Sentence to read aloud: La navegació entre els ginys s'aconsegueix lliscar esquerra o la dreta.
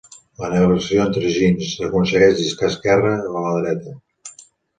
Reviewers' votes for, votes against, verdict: 1, 2, rejected